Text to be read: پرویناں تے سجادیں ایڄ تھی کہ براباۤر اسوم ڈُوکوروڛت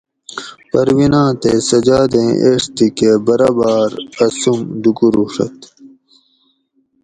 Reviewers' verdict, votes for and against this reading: accepted, 2, 0